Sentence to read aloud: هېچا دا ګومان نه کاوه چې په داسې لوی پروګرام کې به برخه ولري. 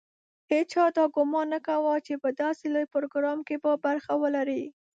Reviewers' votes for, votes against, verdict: 2, 0, accepted